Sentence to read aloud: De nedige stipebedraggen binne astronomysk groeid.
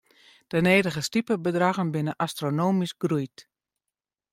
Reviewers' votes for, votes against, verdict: 2, 0, accepted